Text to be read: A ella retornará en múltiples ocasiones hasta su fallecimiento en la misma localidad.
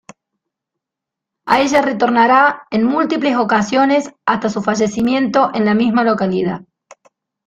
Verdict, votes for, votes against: rejected, 1, 2